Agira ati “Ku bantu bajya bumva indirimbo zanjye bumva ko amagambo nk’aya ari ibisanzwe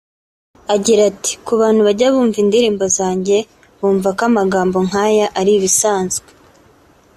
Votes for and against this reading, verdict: 2, 0, accepted